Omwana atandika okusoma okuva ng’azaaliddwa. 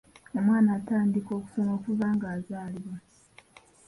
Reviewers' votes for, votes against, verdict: 1, 2, rejected